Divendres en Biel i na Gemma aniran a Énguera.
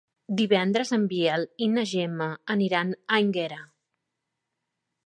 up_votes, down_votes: 1, 2